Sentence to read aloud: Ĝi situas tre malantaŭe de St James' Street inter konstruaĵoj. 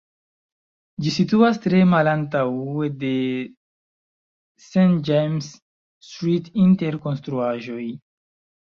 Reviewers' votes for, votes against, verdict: 0, 2, rejected